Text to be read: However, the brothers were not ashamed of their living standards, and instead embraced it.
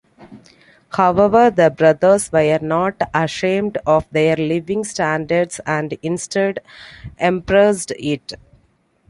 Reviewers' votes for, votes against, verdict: 1, 2, rejected